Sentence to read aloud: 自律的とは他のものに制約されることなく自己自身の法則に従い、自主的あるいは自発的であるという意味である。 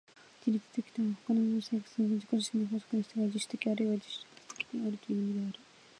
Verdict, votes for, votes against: rejected, 0, 2